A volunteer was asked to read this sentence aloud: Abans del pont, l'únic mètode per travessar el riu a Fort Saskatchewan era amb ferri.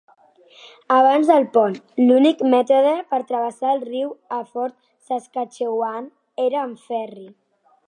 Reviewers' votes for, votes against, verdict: 3, 0, accepted